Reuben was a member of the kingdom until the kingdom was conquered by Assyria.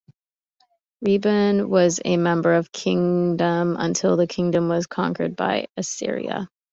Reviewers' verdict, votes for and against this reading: rejected, 0, 2